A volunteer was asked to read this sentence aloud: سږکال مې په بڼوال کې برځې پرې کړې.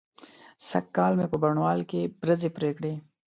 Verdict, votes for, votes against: accepted, 2, 0